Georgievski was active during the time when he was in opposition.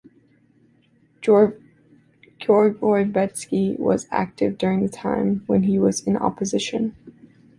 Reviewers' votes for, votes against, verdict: 1, 2, rejected